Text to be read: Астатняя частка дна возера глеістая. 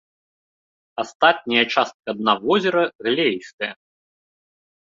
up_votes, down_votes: 2, 0